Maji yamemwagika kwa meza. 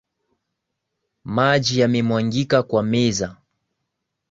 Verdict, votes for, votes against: accepted, 2, 0